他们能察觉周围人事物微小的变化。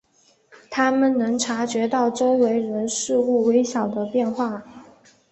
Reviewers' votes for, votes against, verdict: 2, 0, accepted